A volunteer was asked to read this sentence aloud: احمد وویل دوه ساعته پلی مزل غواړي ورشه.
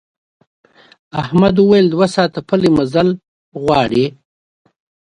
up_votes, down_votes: 1, 2